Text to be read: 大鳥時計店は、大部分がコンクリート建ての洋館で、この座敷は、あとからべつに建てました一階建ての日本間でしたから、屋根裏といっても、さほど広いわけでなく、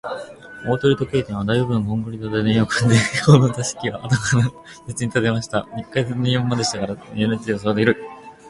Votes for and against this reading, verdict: 0, 6, rejected